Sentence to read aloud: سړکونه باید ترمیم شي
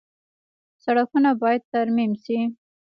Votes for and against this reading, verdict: 3, 2, accepted